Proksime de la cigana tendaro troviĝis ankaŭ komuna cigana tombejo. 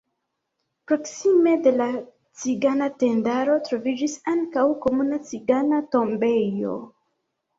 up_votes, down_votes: 2, 1